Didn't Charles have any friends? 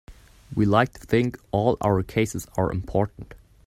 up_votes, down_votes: 0, 2